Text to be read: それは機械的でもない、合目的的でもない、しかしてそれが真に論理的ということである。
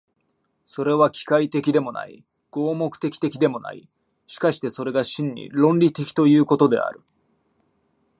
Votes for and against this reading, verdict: 2, 0, accepted